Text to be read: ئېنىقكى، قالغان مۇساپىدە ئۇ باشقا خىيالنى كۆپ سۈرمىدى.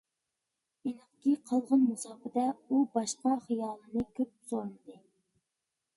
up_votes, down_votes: 0, 2